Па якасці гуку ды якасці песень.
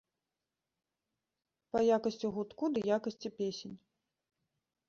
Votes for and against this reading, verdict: 1, 2, rejected